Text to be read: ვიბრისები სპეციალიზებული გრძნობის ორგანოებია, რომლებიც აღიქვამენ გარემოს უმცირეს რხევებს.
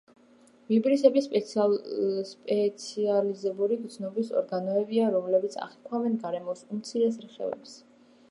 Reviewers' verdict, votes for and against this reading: rejected, 0, 2